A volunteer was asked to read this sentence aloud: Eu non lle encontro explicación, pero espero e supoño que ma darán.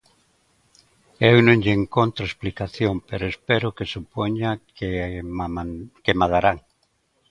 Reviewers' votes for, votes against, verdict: 0, 2, rejected